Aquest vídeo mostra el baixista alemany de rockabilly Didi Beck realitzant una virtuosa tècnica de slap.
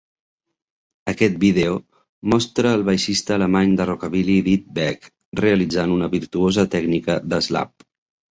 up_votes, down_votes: 2, 1